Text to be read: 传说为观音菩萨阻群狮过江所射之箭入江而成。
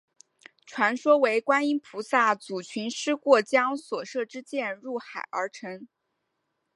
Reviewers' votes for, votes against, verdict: 2, 0, accepted